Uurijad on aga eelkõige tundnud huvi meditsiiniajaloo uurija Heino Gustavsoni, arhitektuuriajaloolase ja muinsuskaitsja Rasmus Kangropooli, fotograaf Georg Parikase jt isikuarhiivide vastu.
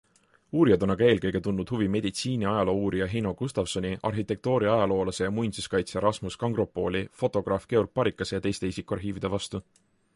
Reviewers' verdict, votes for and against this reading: rejected, 1, 2